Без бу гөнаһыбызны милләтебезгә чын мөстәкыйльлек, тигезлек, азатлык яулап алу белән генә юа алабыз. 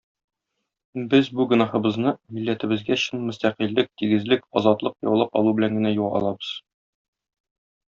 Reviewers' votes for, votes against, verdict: 2, 0, accepted